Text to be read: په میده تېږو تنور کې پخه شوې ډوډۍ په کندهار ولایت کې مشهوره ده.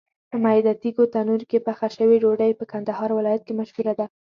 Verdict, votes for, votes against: accepted, 2, 0